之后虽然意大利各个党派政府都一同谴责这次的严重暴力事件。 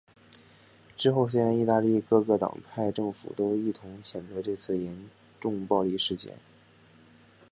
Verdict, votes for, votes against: accepted, 2, 1